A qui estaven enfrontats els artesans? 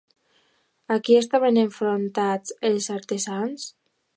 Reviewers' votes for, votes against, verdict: 2, 0, accepted